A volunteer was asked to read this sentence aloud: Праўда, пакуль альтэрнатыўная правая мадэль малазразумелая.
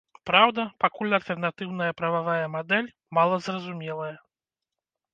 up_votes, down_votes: 0, 2